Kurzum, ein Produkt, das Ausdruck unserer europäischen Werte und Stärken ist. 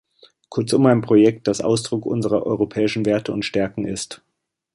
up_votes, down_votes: 1, 2